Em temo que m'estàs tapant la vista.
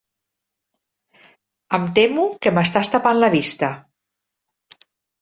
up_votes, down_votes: 3, 0